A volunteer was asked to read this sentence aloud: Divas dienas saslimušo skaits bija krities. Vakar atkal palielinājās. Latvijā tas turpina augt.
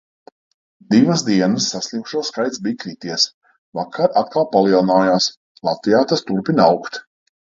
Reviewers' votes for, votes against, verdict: 2, 0, accepted